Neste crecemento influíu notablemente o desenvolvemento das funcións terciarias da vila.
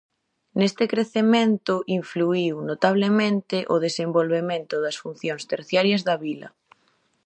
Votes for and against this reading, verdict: 2, 0, accepted